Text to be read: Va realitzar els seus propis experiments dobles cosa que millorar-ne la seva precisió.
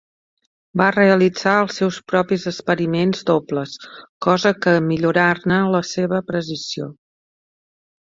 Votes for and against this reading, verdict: 4, 0, accepted